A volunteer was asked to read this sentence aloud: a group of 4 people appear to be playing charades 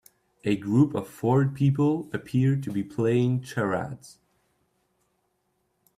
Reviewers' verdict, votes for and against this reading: rejected, 0, 2